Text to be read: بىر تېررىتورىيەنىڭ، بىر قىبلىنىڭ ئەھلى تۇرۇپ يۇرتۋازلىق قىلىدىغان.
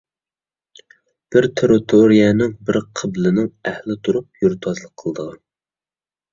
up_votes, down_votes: 2, 0